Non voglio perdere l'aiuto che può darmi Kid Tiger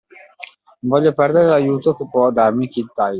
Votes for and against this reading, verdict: 2, 0, accepted